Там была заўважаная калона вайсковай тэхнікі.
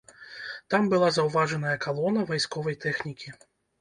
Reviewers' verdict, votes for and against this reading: accepted, 2, 0